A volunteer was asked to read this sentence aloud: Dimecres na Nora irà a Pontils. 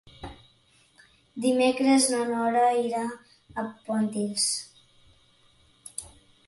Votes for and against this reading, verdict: 3, 0, accepted